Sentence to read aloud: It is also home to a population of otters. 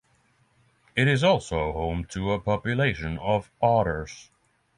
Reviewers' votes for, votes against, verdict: 3, 3, rejected